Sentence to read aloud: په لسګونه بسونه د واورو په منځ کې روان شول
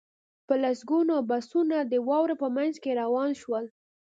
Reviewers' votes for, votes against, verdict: 2, 0, accepted